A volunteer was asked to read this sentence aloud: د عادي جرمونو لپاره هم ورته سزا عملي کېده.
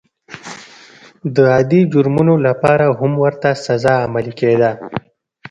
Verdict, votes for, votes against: accepted, 2, 0